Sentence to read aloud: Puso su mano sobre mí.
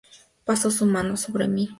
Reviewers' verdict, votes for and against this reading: rejected, 0, 2